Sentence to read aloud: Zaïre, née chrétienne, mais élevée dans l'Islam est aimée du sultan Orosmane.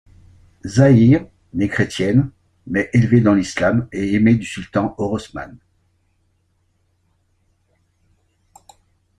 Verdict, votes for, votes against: rejected, 1, 3